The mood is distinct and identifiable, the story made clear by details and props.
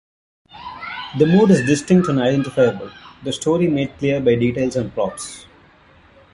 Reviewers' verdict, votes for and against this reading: accepted, 2, 0